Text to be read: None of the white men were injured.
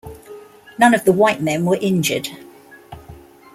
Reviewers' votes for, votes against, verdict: 2, 0, accepted